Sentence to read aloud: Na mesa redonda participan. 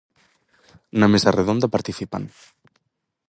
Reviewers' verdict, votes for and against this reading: accepted, 4, 0